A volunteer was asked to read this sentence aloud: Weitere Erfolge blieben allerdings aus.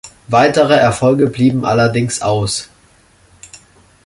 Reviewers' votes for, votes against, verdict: 2, 0, accepted